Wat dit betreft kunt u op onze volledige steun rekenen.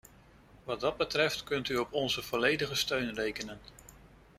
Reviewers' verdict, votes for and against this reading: rejected, 0, 2